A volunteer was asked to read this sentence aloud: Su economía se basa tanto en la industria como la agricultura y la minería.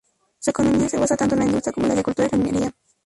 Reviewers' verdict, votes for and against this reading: rejected, 0, 2